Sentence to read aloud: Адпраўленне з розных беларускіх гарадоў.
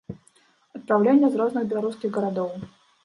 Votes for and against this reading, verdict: 1, 2, rejected